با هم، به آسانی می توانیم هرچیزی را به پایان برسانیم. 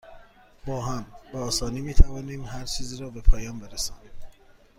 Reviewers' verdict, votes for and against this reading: accepted, 2, 0